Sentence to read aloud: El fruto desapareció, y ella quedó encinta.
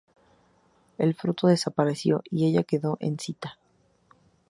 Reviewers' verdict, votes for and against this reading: rejected, 0, 2